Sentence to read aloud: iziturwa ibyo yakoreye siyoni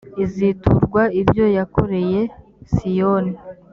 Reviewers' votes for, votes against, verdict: 2, 0, accepted